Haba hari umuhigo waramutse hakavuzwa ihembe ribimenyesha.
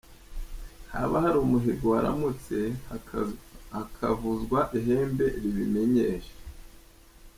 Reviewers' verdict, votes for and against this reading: rejected, 1, 2